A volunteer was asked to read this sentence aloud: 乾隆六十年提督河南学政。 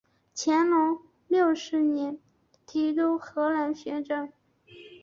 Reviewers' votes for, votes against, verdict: 2, 1, accepted